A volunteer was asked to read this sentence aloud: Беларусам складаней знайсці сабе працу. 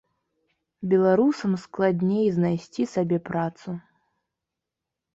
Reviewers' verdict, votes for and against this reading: rejected, 0, 2